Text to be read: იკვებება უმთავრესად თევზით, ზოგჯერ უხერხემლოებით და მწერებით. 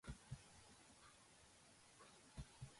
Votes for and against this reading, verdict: 0, 2, rejected